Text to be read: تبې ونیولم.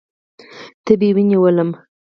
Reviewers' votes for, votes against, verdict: 2, 4, rejected